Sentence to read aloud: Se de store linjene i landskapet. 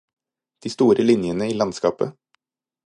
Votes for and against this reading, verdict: 2, 4, rejected